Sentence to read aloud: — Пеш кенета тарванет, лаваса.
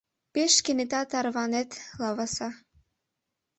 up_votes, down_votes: 2, 0